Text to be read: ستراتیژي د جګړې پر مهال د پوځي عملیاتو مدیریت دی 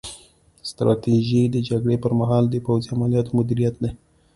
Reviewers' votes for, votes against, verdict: 2, 0, accepted